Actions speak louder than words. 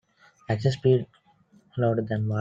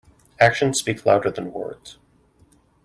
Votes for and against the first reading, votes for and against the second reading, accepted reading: 0, 2, 2, 0, second